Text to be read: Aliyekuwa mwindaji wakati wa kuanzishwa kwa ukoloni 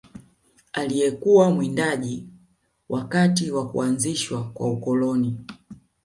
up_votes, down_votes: 1, 2